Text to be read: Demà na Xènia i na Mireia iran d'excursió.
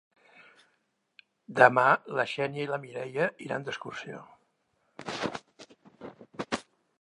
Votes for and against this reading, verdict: 0, 2, rejected